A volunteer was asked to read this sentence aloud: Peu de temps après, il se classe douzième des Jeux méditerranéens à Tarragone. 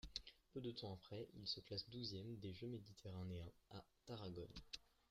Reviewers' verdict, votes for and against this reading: rejected, 0, 2